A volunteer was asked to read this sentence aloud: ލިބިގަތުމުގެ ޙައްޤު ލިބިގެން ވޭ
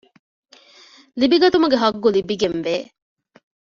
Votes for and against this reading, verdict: 2, 0, accepted